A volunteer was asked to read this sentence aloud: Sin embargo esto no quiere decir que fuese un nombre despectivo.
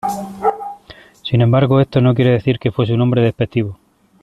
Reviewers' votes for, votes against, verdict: 2, 1, accepted